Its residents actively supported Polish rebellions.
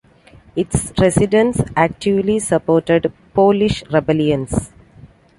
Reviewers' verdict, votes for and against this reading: accepted, 2, 0